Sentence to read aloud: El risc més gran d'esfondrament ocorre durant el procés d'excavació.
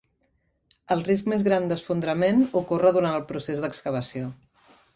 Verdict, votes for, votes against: accepted, 2, 0